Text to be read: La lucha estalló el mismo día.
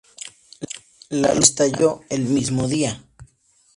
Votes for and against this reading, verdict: 0, 2, rejected